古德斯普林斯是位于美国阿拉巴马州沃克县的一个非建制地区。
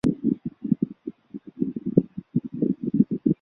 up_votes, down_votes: 0, 3